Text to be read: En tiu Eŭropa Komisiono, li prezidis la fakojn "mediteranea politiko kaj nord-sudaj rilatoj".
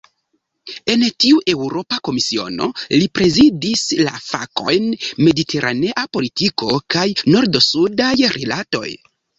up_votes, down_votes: 2, 0